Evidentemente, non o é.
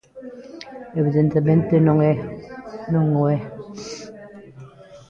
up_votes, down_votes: 1, 2